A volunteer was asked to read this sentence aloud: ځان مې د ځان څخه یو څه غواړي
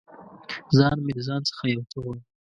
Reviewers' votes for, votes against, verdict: 0, 2, rejected